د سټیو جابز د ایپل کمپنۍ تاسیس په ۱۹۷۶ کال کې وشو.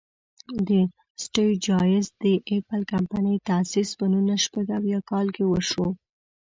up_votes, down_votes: 0, 2